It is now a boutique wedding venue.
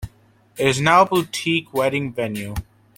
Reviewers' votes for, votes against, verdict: 1, 2, rejected